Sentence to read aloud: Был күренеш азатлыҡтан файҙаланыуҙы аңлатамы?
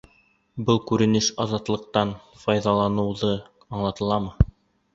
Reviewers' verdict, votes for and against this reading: rejected, 1, 2